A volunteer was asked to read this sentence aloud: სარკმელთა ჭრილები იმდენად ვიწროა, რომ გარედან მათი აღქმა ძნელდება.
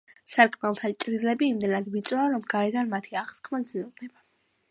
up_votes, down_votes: 3, 0